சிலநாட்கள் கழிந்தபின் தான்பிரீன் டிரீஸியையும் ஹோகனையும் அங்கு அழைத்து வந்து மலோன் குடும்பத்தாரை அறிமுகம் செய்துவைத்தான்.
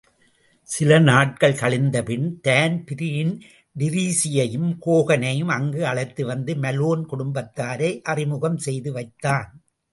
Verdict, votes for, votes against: accepted, 2, 0